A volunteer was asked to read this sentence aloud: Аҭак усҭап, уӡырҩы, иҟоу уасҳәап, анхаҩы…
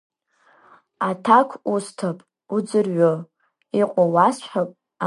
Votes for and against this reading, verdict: 1, 2, rejected